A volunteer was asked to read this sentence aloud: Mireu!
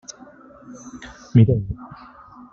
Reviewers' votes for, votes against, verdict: 0, 2, rejected